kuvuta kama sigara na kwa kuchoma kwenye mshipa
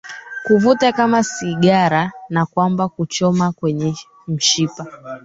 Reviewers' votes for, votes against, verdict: 0, 2, rejected